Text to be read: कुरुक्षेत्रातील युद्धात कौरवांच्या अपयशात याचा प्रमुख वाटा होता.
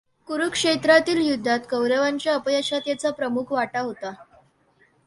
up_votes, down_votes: 3, 0